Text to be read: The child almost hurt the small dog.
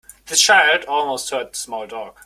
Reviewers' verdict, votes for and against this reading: accepted, 2, 0